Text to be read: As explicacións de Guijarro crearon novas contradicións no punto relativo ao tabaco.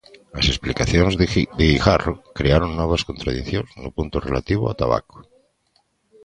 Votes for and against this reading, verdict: 0, 2, rejected